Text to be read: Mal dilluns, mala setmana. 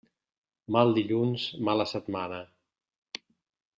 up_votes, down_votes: 2, 0